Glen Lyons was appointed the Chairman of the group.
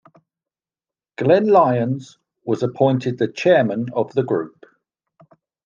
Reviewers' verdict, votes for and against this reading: accepted, 2, 0